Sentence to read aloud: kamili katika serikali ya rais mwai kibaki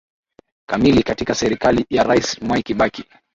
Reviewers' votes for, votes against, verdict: 2, 0, accepted